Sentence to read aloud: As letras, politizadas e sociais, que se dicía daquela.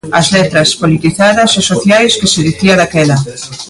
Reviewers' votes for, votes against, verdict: 0, 2, rejected